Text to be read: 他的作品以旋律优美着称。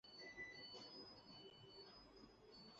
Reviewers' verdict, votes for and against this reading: rejected, 0, 2